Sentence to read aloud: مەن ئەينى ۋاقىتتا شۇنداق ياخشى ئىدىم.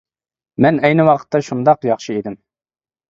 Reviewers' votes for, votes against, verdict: 2, 0, accepted